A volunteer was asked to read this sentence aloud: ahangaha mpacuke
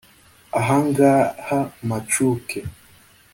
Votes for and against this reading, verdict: 2, 0, accepted